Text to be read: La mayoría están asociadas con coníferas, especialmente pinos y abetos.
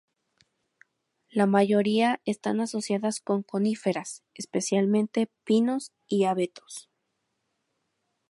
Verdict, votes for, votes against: accepted, 4, 0